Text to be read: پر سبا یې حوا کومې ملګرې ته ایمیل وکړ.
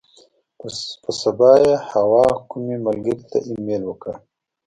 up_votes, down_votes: 2, 0